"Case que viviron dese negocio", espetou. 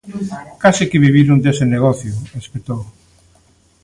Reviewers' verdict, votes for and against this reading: rejected, 1, 2